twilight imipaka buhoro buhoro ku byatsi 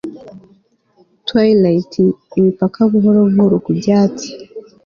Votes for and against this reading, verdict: 2, 0, accepted